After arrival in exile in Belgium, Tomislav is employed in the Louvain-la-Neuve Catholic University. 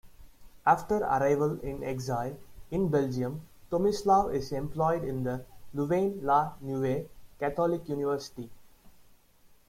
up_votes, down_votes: 2, 0